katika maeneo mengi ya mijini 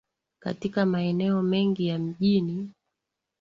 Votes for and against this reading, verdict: 2, 0, accepted